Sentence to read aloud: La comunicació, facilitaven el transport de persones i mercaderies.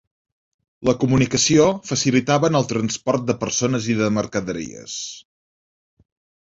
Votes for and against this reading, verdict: 1, 2, rejected